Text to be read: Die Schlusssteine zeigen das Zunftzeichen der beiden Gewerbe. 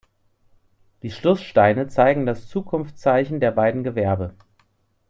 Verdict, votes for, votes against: rejected, 0, 2